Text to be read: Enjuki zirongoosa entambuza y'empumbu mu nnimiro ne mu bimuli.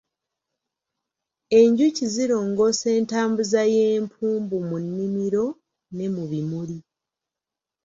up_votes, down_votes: 2, 0